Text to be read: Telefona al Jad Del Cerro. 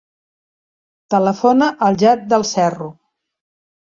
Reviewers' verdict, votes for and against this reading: accepted, 2, 0